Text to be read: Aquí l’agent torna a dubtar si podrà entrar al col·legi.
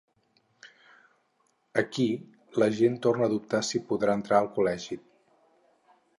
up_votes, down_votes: 4, 0